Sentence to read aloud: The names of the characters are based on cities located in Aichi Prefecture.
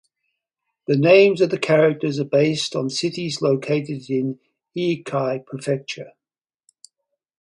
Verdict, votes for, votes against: rejected, 0, 4